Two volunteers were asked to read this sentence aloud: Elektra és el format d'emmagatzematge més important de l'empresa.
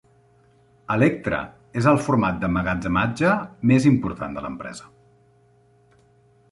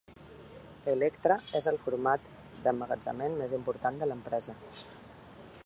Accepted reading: first